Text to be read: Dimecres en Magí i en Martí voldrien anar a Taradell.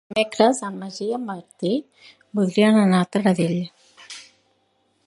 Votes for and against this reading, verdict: 1, 2, rejected